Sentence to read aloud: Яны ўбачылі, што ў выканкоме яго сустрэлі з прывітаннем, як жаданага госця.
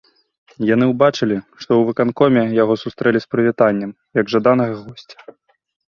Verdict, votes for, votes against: accepted, 2, 0